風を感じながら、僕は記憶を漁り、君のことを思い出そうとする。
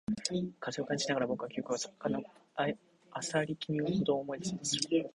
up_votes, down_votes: 0, 2